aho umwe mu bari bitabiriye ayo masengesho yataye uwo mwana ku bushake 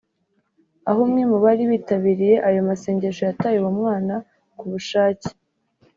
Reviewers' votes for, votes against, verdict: 2, 0, accepted